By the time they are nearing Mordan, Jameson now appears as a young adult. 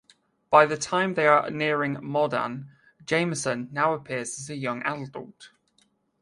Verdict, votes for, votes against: accepted, 2, 1